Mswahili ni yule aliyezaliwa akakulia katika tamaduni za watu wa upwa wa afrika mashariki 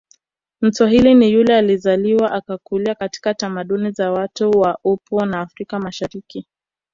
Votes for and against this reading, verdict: 1, 2, rejected